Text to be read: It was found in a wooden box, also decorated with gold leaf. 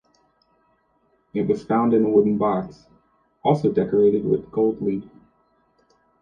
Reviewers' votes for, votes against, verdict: 2, 0, accepted